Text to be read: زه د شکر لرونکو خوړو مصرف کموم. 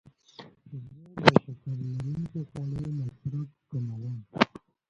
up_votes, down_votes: 2, 0